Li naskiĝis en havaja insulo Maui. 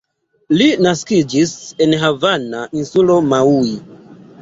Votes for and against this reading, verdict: 0, 2, rejected